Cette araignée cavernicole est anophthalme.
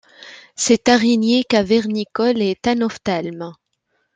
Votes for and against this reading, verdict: 2, 0, accepted